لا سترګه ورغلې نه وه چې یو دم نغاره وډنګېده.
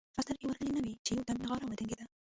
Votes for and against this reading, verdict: 1, 2, rejected